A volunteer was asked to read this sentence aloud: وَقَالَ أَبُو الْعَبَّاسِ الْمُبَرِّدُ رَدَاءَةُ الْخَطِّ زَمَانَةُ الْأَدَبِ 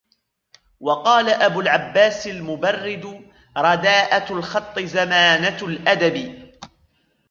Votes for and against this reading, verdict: 0, 2, rejected